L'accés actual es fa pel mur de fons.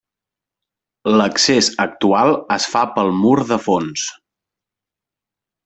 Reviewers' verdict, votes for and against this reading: accepted, 3, 0